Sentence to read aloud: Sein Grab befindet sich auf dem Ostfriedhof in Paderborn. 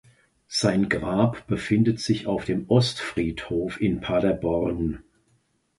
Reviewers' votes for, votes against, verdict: 2, 0, accepted